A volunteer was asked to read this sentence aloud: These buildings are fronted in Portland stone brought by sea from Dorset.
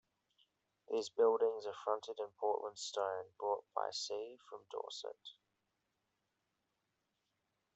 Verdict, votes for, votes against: accepted, 2, 0